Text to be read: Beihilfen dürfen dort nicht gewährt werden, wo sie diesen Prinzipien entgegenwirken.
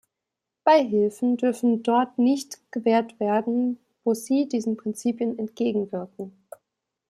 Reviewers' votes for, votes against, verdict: 2, 0, accepted